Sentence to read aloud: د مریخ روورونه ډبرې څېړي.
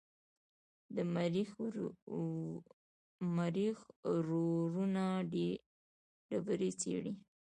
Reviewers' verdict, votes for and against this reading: rejected, 1, 2